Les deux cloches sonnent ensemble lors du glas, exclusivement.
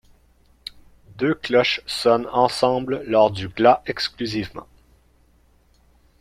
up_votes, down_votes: 1, 2